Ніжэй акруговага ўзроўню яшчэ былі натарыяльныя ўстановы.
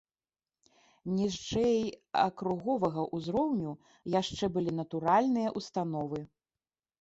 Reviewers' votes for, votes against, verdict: 0, 2, rejected